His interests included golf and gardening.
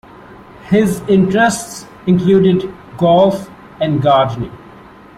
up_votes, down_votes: 2, 0